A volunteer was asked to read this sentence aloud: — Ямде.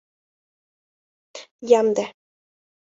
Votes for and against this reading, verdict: 2, 0, accepted